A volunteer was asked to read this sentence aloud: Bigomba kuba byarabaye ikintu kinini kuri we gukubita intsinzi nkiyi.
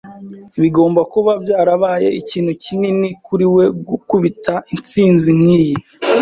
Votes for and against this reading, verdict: 2, 0, accepted